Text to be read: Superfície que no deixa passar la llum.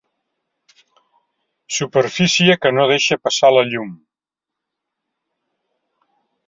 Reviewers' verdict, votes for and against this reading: accepted, 3, 0